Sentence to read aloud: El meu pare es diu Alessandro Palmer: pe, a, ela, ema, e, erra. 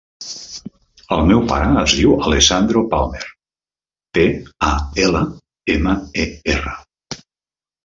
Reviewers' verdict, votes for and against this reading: rejected, 1, 2